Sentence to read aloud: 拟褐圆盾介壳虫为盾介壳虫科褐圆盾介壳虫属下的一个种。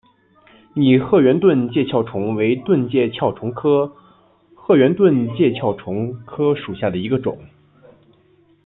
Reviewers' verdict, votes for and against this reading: accepted, 2, 0